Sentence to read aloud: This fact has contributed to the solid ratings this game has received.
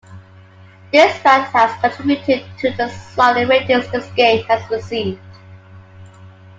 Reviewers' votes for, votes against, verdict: 2, 0, accepted